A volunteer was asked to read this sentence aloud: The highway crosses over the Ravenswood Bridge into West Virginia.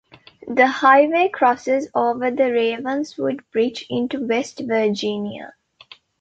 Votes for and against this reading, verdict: 2, 0, accepted